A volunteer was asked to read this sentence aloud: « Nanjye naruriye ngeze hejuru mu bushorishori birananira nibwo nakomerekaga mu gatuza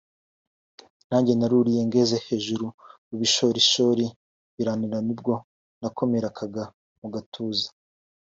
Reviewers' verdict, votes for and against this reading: accepted, 2, 1